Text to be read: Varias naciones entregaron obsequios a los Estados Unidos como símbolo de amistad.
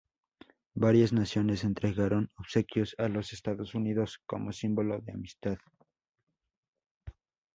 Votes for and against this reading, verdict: 4, 0, accepted